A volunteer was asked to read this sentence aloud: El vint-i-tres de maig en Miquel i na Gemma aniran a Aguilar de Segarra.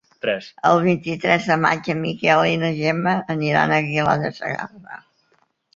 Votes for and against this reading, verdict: 0, 2, rejected